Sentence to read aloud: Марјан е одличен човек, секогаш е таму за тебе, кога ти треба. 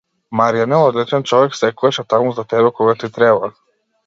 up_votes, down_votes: 2, 0